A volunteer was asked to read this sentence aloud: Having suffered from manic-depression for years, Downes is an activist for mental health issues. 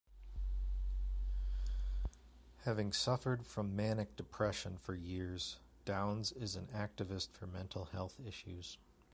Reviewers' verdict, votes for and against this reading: accepted, 2, 0